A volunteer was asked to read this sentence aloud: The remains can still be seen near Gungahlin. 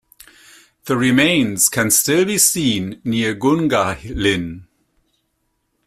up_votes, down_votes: 2, 0